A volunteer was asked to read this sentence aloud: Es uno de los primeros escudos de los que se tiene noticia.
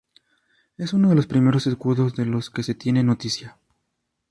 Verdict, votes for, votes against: rejected, 0, 2